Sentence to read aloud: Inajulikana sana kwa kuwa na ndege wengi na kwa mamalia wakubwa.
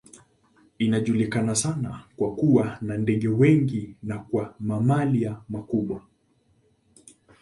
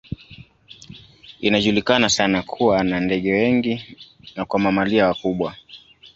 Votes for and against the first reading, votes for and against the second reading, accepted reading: 2, 0, 1, 2, first